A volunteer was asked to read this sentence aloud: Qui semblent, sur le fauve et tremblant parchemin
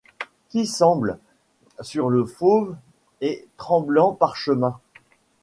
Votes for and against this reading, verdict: 2, 0, accepted